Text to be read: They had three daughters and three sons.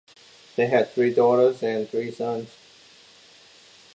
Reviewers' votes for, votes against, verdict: 2, 0, accepted